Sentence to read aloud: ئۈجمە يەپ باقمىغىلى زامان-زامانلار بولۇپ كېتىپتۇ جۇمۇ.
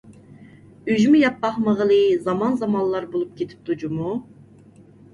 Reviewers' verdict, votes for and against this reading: accepted, 2, 0